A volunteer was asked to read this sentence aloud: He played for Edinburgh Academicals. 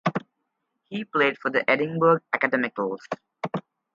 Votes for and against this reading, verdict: 2, 2, rejected